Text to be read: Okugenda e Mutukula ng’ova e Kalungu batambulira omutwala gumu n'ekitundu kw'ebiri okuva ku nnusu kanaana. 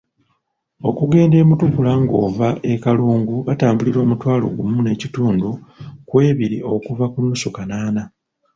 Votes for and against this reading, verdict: 0, 2, rejected